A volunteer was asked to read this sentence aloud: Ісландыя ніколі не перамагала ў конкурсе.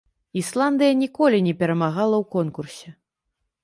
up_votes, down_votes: 3, 0